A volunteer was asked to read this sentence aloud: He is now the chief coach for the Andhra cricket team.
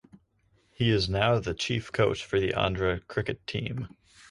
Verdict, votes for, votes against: accepted, 4, 0